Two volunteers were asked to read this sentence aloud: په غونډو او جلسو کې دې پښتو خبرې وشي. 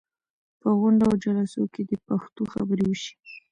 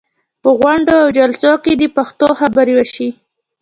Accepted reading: second